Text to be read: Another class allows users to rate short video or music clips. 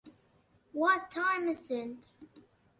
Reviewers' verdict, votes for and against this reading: rejected, 0, 2